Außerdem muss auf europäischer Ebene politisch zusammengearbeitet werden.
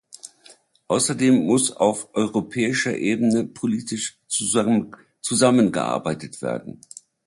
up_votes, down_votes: 0, 2